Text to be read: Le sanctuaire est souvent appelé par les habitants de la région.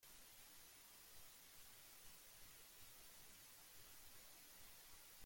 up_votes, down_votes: 0, 2